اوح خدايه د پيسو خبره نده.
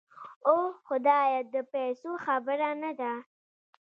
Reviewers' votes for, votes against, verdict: 1, 2, rejected